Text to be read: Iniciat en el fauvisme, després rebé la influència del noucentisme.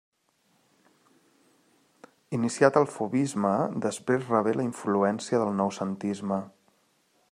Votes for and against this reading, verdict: 1, 2, rejected